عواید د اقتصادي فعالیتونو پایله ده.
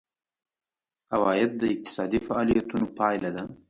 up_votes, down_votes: 2, 0